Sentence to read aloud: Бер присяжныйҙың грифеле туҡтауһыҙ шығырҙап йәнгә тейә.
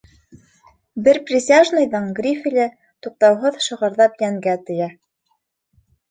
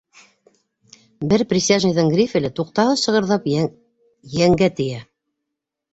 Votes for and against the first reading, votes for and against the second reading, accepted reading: 2, 0, 1, 2, first